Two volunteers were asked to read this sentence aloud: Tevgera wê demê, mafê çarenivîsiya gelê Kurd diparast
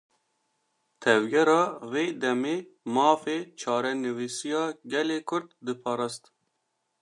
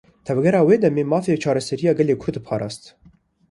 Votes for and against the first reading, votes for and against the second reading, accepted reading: 2, 0, 1, 2, first